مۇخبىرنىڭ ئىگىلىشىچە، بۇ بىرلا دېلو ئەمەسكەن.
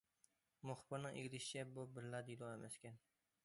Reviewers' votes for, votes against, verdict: 2, 1, accepted